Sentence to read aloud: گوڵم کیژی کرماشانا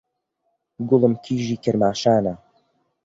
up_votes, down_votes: 2, 0